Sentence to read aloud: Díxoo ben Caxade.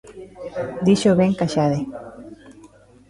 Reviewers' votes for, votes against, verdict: 2, 0, accepted